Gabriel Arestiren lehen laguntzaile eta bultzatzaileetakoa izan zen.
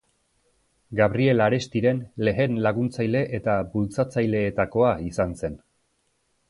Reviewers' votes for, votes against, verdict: 2, 0, accepted